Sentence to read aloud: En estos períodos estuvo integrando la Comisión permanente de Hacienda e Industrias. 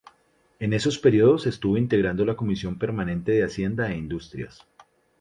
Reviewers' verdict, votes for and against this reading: rejected, 0, 2